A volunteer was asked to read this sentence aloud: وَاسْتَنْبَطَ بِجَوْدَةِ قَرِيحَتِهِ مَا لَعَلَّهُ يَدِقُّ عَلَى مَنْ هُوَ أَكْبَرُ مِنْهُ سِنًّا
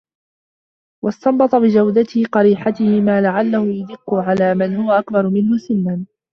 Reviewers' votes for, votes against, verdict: 0, 2, rejected